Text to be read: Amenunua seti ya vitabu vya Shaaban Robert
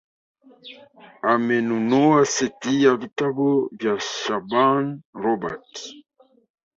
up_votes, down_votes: 1, 2